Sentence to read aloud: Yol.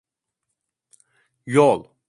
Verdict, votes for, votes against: accepted, 2, 0